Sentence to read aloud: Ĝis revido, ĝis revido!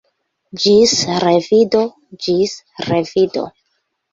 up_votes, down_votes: 2, 1